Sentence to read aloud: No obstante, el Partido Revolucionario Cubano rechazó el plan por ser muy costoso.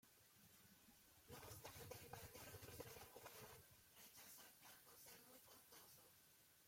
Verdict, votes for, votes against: rejected, 0, 2